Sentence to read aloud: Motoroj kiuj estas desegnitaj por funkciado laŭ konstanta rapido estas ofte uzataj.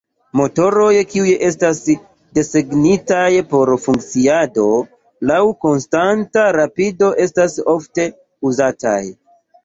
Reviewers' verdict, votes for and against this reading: rejected, 1, 2